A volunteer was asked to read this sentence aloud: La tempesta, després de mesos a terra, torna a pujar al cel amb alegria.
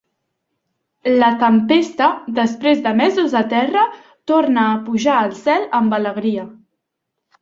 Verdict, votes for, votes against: accepted, 3, 0